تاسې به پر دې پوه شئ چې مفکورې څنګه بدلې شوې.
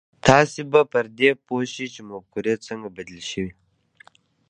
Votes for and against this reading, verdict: 1, 2, rejected